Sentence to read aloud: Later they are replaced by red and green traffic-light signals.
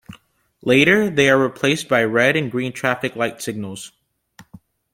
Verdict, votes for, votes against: accepted, 2, 0